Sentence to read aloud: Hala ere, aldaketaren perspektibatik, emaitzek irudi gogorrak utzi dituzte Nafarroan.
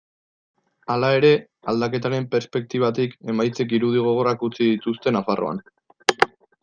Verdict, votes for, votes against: accepted, 2, 0